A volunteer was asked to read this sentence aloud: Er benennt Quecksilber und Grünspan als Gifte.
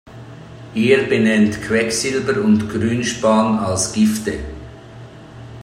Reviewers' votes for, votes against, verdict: 2, 0, accepted